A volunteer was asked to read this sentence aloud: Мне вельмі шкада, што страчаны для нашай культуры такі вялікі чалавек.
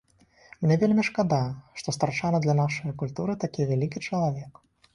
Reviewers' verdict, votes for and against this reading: rejected, 2, 4